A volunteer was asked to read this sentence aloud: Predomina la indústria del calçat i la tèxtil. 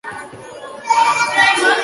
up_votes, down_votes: 1, 2